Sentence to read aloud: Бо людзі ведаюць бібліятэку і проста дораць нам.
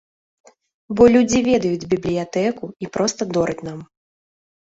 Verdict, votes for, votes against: accepted, 2, 0